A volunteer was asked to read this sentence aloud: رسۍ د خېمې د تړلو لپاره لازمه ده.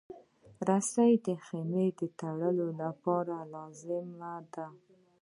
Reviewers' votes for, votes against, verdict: 0, 2, rejected